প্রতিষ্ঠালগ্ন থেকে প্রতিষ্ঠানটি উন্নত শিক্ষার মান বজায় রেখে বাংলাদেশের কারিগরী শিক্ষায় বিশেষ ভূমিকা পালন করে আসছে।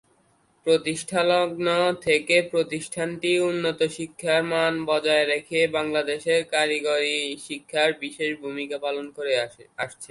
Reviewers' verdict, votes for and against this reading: rejected, 0, 7